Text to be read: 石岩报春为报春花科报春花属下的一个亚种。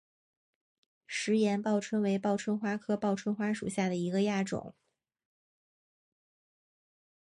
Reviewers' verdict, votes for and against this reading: accepted, 8, 0